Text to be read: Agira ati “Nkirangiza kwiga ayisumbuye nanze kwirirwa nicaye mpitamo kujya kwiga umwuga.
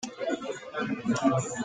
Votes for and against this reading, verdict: 0, 2, rejected